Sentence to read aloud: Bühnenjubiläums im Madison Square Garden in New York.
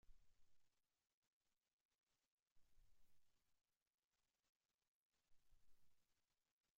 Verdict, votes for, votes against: rejected, 0, 2